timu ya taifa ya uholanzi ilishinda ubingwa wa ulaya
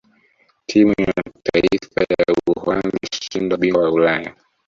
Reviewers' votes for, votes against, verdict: 0, 2, rejected